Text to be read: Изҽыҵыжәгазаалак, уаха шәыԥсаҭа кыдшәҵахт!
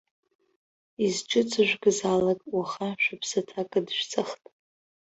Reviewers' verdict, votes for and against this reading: rejected, 0, 3